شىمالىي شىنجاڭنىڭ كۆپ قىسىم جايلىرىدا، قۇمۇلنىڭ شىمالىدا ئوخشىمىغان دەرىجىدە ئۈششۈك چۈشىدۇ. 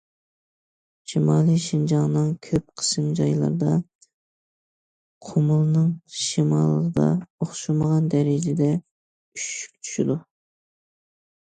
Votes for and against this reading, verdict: 2, 0, accepted